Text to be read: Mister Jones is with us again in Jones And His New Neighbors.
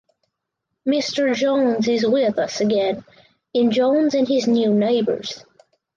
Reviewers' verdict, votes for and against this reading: accepted, 4, 0